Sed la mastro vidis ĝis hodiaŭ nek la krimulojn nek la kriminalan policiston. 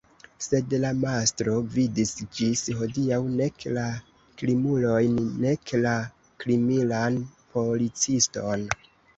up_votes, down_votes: 2, 1